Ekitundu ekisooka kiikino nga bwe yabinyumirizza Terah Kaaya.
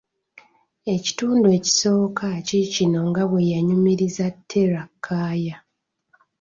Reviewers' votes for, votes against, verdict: 2, 1, accepted